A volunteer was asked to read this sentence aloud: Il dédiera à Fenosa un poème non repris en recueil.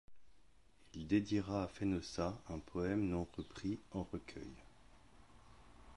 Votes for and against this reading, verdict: 1, 2, rejected